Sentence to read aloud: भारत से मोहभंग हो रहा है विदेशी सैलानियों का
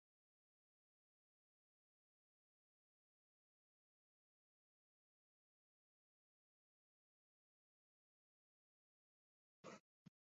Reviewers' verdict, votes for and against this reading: rejected, 0, 2